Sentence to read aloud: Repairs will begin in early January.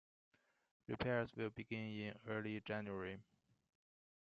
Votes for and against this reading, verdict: 2, 0, accepted